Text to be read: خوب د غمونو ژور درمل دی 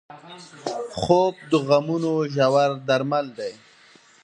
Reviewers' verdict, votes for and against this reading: accepted, 2, 0